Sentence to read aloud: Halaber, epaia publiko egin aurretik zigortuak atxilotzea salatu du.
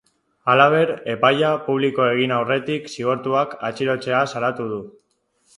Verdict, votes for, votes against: rejected, 0, 2